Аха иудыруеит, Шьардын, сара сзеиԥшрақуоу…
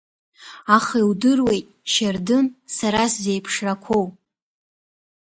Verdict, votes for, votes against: accepted, 2, 0